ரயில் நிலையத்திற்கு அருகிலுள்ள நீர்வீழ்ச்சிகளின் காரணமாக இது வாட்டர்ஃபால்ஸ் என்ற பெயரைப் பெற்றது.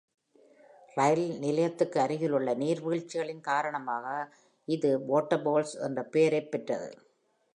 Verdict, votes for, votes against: accepted, 2, 0